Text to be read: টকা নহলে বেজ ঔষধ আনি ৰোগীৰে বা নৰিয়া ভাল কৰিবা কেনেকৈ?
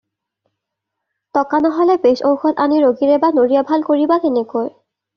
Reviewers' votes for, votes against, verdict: 2, 0, accepted